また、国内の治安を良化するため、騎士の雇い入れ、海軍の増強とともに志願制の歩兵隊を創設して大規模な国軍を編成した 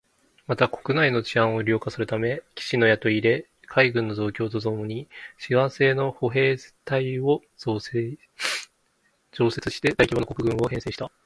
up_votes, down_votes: 1, 3